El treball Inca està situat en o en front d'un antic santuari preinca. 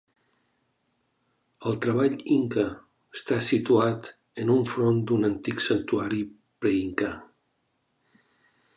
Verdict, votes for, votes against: rejected, 1, 2